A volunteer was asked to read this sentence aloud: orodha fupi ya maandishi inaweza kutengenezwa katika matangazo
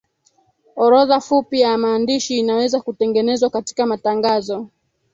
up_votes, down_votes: 3, 2